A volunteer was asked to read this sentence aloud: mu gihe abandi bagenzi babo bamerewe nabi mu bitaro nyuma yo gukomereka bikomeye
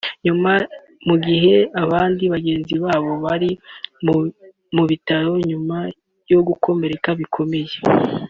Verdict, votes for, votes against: rejected, 0, 2